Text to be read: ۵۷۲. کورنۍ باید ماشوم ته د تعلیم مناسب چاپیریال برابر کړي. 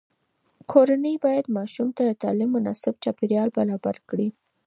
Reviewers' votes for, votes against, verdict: 0, 2, rejected